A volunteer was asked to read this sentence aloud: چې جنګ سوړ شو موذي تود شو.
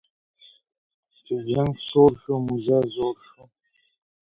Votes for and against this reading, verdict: 1, 2, rejected